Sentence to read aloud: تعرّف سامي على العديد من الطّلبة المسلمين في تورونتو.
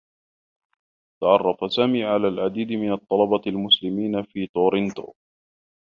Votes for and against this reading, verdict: 2, 0, accepted